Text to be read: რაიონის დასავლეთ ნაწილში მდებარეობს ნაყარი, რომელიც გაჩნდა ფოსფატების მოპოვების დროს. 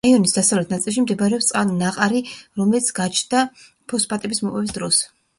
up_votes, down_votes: 1, 2